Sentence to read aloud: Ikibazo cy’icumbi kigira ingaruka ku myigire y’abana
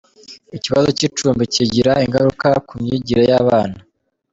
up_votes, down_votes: 2, 0